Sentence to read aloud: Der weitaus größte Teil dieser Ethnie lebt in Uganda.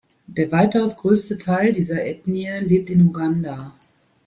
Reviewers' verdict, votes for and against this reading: rejected, 1, 2